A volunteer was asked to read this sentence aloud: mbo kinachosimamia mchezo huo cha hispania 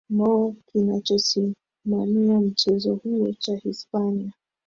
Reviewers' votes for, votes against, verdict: 2, 1, accepted